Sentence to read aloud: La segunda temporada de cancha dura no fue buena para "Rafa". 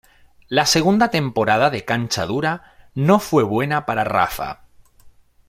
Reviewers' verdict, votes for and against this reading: accepted, 2, 0